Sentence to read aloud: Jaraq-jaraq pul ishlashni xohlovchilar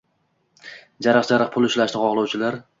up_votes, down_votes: 2, 0